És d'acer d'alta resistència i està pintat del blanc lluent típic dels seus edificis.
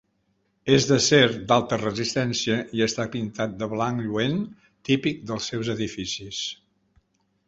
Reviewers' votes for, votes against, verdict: 2, 4, rejected